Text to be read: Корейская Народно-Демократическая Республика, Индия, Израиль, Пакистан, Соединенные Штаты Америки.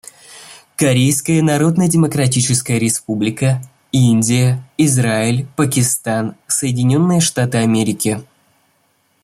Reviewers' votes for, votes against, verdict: 2, 0, accepted